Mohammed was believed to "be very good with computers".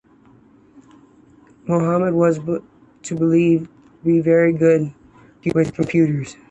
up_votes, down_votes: 1, 2